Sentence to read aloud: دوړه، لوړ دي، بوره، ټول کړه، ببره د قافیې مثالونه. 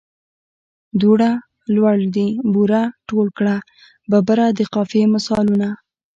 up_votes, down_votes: 2, 1